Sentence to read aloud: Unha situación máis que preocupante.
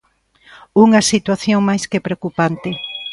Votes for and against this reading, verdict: 2, 1, accepted